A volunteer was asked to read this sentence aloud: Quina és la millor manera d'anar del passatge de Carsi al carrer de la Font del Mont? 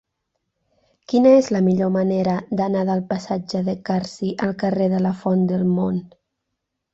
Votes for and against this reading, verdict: 6, 0, accepted